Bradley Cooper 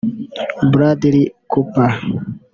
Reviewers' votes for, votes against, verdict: 0, 2, rejected